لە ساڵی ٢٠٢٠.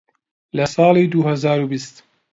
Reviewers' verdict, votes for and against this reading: rejected, 0, 2